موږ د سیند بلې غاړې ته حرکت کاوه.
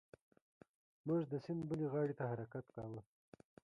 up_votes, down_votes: 0, 2